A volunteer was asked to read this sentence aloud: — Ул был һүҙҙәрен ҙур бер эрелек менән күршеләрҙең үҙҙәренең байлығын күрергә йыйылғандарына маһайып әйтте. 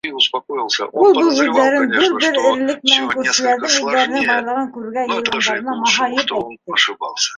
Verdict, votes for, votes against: rejected, 0, 2